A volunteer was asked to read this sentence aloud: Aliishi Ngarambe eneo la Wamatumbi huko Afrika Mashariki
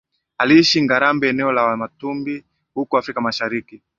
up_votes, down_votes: 8, 3